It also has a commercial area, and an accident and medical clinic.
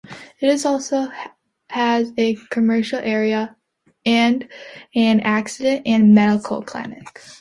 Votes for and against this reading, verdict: 0, 2, rejected